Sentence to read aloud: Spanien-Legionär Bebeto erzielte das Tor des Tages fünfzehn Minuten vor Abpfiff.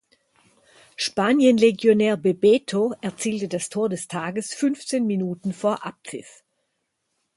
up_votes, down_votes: 4, 0